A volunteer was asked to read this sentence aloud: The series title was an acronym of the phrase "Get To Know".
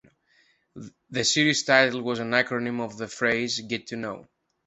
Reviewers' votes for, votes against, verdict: 2, 0, accepted